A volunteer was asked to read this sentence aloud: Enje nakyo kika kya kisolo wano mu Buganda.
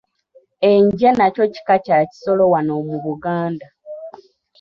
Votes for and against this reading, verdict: 0, 2, rejected